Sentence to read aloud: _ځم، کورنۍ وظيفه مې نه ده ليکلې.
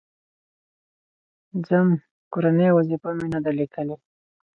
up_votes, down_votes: 4, 0